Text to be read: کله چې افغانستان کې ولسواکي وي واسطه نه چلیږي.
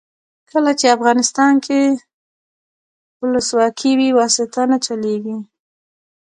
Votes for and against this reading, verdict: 1, 2, rejected